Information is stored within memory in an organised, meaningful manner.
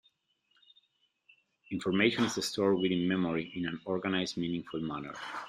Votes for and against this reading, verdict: 0, 2, rejected